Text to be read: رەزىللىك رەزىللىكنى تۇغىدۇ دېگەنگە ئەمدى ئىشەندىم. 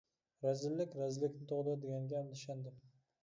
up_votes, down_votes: 1, 2